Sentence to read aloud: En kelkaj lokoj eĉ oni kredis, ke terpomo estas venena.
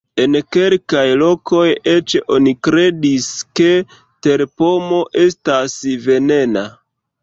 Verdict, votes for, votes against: rejected, 1, 2